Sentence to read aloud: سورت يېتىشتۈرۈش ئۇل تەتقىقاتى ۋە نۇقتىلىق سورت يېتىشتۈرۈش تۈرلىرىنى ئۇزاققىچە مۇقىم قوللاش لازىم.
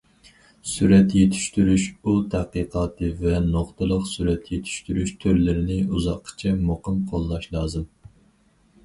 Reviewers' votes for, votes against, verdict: 0, 4, rejected